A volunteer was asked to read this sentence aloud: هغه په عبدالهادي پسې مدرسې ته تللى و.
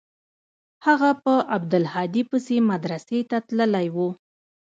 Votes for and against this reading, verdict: 0, 2, rejected